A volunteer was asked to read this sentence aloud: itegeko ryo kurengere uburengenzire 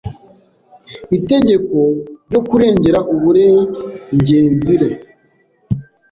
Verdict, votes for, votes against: rejected, 1, 2